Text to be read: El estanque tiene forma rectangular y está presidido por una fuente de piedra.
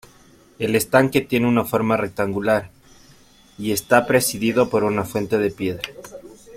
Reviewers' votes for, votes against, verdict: 2, 1, accepted